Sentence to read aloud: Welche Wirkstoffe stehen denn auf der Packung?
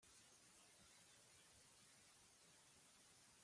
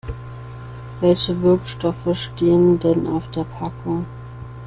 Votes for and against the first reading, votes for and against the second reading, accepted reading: 0, 2, 2, 0, second